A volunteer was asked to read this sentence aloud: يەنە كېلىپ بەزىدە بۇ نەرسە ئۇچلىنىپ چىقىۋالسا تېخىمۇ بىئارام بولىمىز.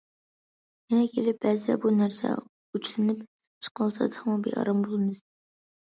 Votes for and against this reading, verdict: 1, 2, rejected